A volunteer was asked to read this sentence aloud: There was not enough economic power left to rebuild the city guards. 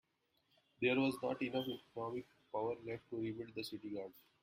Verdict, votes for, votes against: rejected, 0, 2